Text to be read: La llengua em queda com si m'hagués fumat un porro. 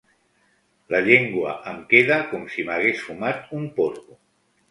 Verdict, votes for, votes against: accepted, 2, 0